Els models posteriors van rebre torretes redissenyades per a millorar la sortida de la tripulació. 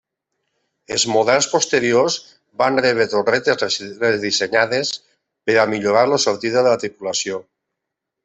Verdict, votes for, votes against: rejected, 0, 2